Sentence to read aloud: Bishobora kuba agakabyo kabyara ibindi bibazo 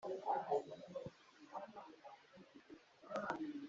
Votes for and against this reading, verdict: 1, 2, rejected